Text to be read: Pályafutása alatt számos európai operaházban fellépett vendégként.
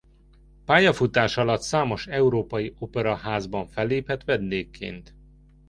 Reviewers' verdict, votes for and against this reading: accepted, 2, 0